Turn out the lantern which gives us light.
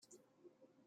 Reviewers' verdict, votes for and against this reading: rejected, 1, 2